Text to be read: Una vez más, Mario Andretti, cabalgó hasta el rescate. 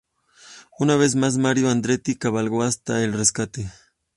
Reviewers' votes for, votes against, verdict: 2, 0, accepted